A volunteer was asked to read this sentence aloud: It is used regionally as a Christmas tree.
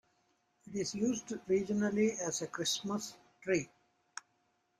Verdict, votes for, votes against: rejected, 1, 2